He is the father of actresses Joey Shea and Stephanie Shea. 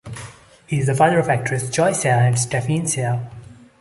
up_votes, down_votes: 0, 2